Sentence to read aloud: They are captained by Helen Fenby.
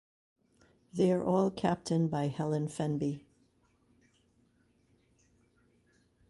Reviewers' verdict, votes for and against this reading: rejected, 1, 2